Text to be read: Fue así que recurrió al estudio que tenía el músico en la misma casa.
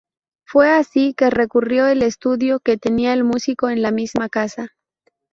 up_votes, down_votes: 2, 2